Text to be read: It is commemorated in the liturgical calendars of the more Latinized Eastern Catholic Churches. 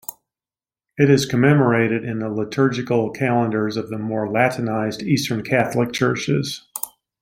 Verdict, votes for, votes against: accepted, 2, 0